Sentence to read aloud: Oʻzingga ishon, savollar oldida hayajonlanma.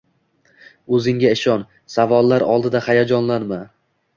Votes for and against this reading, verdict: 2, 0, accepted